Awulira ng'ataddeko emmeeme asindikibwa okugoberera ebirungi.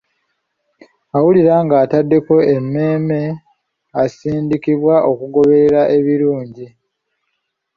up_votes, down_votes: 2, 0